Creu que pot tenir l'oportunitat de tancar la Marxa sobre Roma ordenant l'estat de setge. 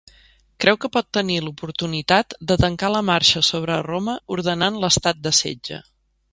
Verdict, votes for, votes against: accepted, 3, 0